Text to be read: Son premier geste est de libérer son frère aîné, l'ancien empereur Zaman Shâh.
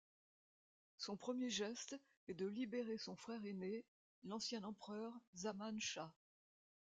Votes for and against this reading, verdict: 2, 0, accepted